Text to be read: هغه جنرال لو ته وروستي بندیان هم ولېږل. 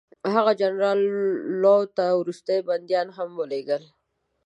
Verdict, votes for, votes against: accepted, 2, 0